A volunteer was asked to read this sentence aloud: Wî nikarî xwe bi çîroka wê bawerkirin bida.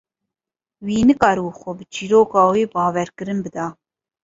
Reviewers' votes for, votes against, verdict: 0, 2, rejected